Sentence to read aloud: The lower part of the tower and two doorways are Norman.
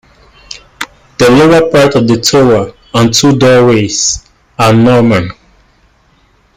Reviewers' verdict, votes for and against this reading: accepted, 2, 1